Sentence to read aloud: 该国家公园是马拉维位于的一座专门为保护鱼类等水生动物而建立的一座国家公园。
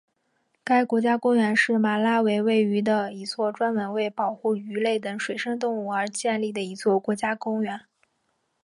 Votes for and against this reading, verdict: 1, 2, rejected